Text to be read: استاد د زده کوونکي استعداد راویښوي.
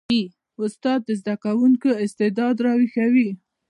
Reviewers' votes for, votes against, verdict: 3, 0, accepted